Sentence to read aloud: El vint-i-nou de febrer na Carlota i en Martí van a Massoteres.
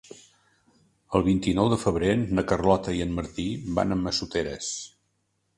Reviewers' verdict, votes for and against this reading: accepted, 2, 0